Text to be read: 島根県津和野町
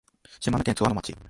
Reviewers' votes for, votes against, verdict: 1, 2, rejected